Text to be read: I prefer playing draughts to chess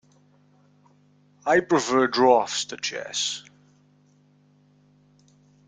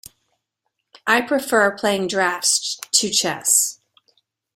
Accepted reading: second